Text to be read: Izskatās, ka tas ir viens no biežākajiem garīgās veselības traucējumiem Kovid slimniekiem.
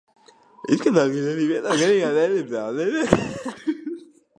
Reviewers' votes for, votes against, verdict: 0, 2, rejected